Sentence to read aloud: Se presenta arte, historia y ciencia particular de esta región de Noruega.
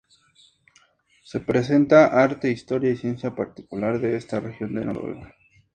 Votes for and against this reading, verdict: 2, 0, accepted